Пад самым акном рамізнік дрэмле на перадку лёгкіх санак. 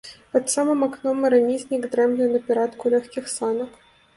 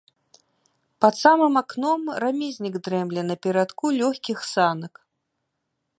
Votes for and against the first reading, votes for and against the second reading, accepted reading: 0, 2, 2, 0, second